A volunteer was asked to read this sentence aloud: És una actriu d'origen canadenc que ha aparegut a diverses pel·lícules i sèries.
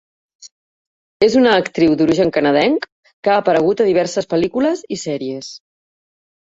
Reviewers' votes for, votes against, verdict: 3, 0, accepted